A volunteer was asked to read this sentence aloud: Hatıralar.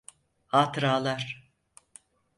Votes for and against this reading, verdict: 4, 0, accepted